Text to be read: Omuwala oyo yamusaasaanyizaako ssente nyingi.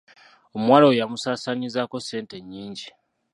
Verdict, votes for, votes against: rejected, 0, 2